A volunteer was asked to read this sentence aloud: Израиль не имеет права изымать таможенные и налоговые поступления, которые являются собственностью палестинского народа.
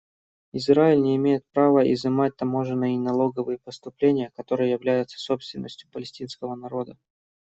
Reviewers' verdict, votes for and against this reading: accepted, 2, 0